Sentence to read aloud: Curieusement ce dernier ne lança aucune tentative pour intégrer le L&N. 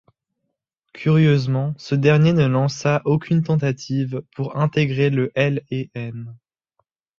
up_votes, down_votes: 2, 0